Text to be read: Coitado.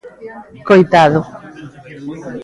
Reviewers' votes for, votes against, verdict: 1, 2, rejected